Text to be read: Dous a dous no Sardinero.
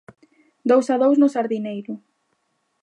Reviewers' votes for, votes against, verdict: 0, 2, rejected